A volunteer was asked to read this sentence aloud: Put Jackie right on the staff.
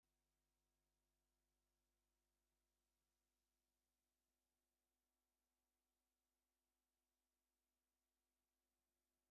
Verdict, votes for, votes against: rejected, 0, 2